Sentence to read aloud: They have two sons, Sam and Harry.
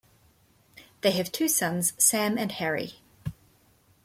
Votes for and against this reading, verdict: 2, 0, accepted